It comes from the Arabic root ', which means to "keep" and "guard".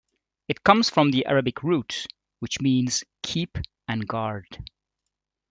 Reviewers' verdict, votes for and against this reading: rejected, 1, 2